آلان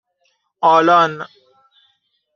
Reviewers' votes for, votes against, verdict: 2, 1, accepted